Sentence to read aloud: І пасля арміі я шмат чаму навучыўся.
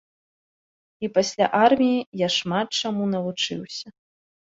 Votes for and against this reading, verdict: 2, 0, accepted